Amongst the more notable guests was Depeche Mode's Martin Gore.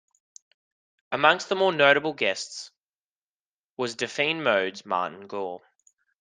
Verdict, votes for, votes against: rejected, 0, 2